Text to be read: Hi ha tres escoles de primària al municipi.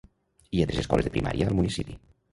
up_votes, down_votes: 0, 2